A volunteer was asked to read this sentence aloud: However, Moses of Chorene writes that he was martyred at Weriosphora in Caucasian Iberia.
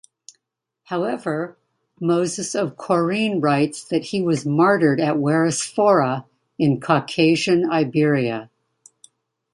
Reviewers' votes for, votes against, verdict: 2, 0, accepted